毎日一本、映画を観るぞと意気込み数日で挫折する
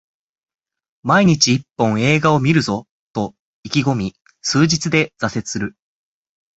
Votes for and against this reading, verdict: 4, 0, accepted